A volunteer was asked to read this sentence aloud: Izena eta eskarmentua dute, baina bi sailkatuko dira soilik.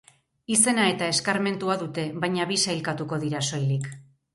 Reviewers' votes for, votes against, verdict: 6, 0, accepted